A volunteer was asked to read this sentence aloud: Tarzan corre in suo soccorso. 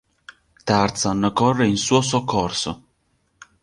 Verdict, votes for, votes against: accepted, 3, 0